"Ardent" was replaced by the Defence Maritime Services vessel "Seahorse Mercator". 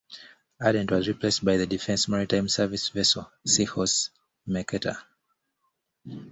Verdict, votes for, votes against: accepted, 2, 0